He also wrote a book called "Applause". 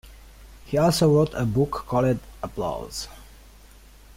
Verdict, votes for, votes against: accepted, 2, 0